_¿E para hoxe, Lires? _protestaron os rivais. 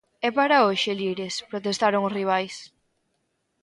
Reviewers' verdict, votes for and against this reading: accepted, 2, 0